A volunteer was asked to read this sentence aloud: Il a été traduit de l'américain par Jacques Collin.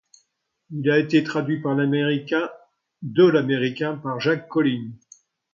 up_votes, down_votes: 0, 2